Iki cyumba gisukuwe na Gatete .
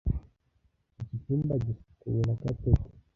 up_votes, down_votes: 1, 2